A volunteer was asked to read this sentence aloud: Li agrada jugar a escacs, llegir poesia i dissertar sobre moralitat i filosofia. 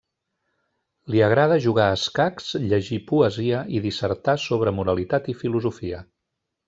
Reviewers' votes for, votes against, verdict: 1, 2, rejected